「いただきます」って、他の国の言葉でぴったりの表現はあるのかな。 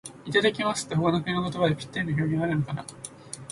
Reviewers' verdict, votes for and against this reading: rejected, 1, 2